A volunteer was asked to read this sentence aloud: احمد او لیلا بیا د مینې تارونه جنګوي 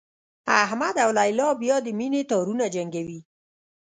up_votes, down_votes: 1, 2